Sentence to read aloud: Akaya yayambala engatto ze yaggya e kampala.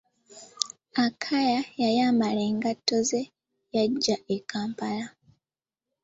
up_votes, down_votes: 2, 0